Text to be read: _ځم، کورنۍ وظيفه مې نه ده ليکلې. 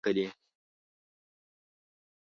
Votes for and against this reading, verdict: 0, 2, rejected